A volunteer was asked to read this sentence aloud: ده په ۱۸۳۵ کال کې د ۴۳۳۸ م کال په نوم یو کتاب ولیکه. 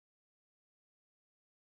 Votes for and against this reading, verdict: 0, 2, rejected